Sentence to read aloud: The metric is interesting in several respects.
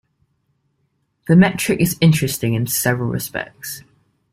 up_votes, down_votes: 2, 0